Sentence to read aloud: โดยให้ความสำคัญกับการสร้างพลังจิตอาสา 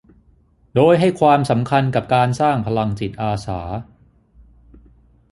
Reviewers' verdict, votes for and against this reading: accepted, 6, 0